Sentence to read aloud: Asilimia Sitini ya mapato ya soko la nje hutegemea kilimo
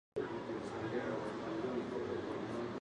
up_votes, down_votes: 0, 2